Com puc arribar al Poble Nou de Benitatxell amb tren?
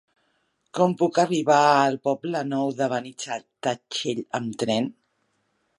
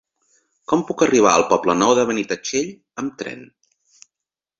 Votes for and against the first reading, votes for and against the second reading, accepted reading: 1, 2, 3, 0, second